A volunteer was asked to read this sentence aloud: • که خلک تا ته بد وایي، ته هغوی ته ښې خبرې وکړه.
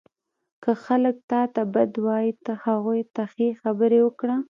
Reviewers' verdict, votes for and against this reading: accepted, 2, 0